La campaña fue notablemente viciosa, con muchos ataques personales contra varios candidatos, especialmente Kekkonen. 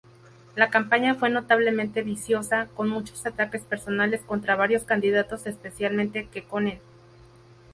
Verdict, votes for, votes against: rejected, 2, 2